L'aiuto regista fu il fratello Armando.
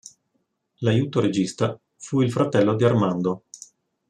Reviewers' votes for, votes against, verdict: 0, 2, rejected